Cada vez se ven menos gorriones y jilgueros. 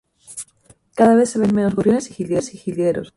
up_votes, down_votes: 0, 2